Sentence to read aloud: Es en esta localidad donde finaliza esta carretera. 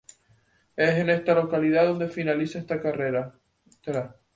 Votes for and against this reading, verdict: 2, 2, rejected